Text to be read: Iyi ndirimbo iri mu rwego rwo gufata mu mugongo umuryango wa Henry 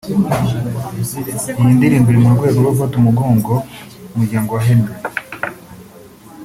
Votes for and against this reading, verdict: 3, 0, accepted